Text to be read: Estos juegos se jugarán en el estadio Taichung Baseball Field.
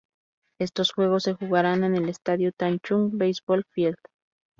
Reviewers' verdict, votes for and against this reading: accepted, 4, 0